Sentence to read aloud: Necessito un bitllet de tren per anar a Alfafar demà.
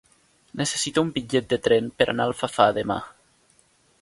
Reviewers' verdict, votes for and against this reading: accepted, 2, 0